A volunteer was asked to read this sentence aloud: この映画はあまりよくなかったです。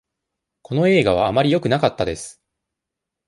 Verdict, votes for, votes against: accepted, 2, 0